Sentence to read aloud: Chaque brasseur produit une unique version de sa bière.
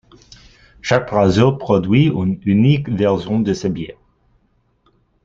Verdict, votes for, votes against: rejected, 0, 2